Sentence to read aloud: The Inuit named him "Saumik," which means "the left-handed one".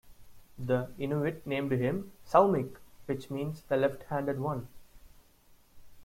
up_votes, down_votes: 2, 0